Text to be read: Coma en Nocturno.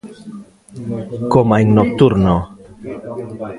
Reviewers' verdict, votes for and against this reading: rejected, 0, 2